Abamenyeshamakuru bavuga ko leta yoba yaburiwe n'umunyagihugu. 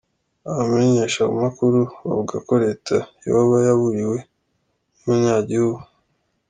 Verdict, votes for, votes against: accepted, 2, 0